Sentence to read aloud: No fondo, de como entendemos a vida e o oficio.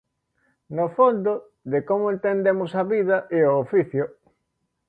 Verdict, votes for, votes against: accepted, 2, 0